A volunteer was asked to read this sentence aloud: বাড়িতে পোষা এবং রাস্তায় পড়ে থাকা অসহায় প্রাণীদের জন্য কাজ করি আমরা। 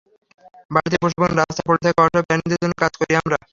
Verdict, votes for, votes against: rejected, 0, 3